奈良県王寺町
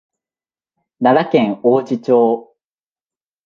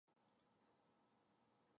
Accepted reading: first